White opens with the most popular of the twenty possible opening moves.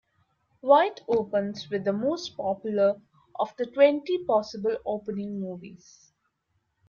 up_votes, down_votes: 1, 2